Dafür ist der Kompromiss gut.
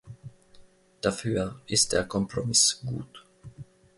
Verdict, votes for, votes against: accepted, 2, 0